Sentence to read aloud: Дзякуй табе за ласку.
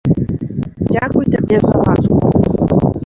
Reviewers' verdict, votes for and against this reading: accepted, 2, 1